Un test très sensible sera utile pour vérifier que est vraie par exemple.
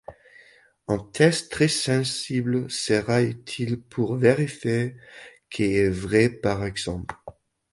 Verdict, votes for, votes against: rejected, 1, 2